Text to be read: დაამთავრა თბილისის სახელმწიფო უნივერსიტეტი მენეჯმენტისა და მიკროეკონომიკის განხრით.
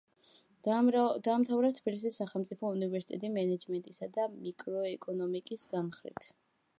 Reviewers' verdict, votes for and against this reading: rejected, 0, 2